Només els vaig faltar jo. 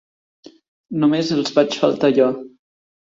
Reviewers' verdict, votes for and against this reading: accepted, 2, 1